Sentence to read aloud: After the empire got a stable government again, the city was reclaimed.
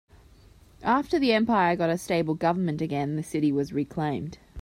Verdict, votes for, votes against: accepted, 3, 0